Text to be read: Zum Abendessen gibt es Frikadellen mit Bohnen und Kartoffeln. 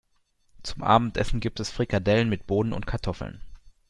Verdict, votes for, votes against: accepted, 3, 2